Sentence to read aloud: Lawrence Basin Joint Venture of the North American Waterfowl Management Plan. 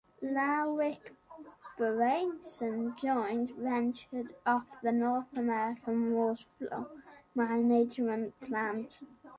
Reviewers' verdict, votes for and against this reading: rejected, 1, 2